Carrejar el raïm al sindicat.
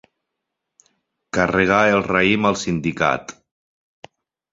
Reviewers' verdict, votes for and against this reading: rejected, 0, 4